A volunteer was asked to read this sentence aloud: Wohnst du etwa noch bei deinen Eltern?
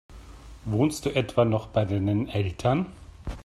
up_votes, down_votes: 2, 0